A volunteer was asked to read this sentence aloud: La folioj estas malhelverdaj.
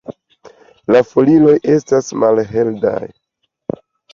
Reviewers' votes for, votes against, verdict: 2, 0, accepted